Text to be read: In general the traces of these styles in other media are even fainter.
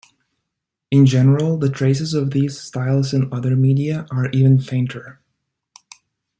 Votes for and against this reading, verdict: 2, 0, accepted